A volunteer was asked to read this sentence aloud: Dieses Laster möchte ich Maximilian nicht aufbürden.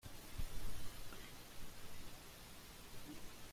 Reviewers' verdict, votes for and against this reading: rejected, 0, 4